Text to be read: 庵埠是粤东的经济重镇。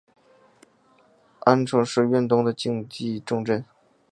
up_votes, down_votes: 2, 3